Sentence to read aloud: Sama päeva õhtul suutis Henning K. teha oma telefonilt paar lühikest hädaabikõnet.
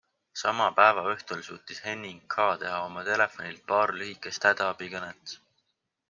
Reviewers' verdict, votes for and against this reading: accepted, 5, 0